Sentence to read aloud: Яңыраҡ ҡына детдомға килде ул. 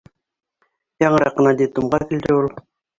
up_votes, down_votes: 0, 2